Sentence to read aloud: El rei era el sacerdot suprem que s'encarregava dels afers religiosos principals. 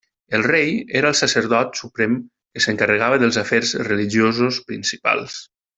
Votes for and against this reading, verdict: 1, 2, rejected